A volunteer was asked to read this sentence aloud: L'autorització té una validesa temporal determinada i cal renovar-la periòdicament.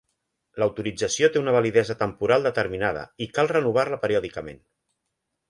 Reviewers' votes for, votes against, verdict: 1, 2, rejected